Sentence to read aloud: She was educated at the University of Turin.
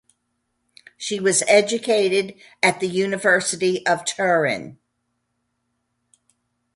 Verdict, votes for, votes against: accepted, 2, 0